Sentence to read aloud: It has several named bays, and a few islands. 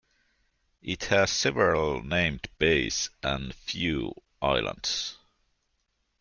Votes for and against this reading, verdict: 2, 1, accepted